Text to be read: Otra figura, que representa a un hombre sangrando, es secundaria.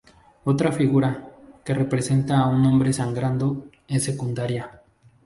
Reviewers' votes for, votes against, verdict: 6, 0, accepted